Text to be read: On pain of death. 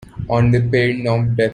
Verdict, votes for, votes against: rejected, 0, 2